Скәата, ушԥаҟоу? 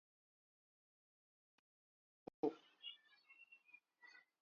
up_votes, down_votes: 0, 2